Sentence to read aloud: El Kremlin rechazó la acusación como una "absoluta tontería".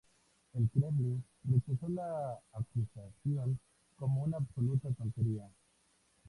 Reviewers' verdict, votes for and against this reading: rejected, 0, 2